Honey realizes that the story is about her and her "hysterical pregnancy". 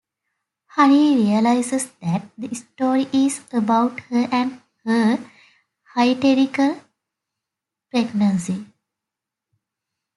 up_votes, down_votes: 0, 2